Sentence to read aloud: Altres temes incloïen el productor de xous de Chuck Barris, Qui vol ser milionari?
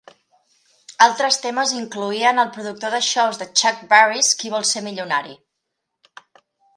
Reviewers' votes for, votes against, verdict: 1, 2, rejected